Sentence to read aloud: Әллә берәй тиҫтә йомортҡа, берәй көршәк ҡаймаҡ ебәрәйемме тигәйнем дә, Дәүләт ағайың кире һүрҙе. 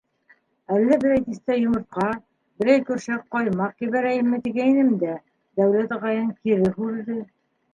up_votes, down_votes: 1, 2